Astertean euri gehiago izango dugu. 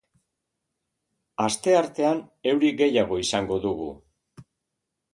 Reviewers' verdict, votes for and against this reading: accepted, 2, 0